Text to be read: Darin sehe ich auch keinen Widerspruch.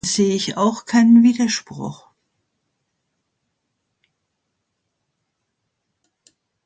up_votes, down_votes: 0, 2